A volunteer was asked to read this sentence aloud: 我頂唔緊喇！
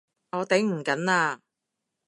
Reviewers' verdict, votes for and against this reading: accepted, 2, 0